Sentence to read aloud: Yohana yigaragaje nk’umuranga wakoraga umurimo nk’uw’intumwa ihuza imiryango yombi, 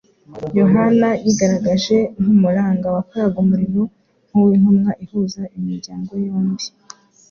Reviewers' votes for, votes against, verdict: 2, 0, accepted